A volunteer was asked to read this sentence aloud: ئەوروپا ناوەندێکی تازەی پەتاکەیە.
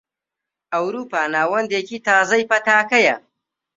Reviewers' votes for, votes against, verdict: 2, 0, accepted